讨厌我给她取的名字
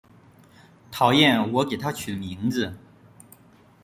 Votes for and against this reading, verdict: 3, 2, accepted